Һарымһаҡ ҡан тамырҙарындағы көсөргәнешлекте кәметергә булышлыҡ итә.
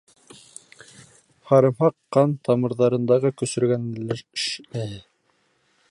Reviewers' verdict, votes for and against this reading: rejected, 0, 2